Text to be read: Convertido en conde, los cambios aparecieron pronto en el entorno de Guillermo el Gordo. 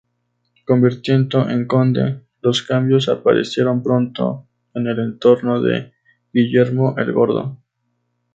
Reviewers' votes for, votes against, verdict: 2, 0, accepted